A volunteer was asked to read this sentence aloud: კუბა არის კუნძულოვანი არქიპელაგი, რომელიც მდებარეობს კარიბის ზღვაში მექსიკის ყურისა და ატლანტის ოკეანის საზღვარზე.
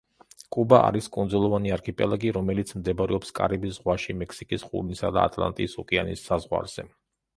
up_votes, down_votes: 1, 2